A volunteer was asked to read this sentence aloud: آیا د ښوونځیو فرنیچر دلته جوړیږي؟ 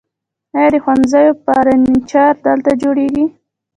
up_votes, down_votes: 0, 2